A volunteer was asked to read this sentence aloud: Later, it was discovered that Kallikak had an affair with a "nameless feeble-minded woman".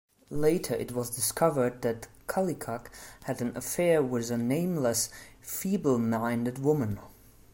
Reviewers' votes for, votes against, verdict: 2, 0, accepted